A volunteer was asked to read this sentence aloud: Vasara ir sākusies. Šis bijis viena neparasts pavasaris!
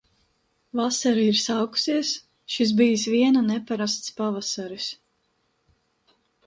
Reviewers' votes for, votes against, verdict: 2, 0, accepted